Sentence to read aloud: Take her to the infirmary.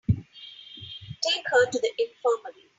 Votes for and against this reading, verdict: 3, 0, accepted